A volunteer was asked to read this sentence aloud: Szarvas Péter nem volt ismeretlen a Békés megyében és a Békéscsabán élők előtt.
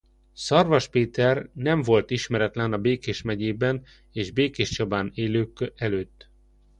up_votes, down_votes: 1, 2